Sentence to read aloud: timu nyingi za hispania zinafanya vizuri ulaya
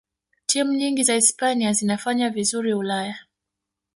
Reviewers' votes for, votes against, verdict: 3, 0, accepted